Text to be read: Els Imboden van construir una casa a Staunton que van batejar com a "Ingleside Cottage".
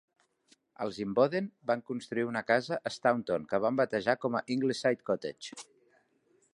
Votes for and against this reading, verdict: 3, 0, accepted